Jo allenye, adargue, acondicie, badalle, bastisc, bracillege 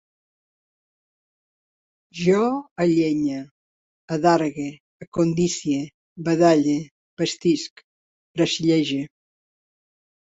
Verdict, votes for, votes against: accepted, 2, 0